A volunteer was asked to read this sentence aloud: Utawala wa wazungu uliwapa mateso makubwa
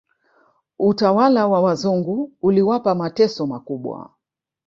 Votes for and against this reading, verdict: 0, 2, rejected